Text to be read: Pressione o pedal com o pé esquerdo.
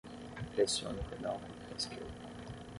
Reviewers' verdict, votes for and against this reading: accepted, 6, 3